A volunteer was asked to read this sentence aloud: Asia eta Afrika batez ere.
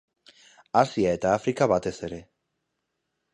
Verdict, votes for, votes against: accepted, 4, 0